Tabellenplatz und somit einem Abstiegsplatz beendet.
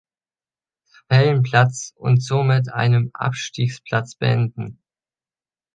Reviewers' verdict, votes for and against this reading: rejected, 0, 3